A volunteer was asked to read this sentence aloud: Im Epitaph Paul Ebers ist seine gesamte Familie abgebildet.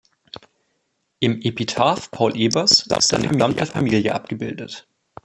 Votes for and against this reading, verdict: 0, 2, rejected